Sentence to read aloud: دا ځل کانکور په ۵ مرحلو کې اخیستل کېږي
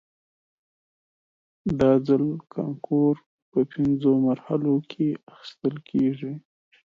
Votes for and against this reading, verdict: 0, 2, rejected